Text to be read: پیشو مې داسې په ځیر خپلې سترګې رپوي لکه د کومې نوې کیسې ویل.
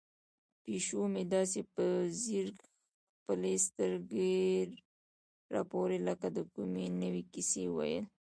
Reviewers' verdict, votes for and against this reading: rejected, 1, 2